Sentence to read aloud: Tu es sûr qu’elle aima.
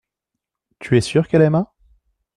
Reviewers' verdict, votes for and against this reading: accepted, 2, 0